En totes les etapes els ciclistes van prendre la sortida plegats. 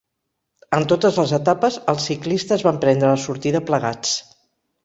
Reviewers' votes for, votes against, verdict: 4, 0, accepted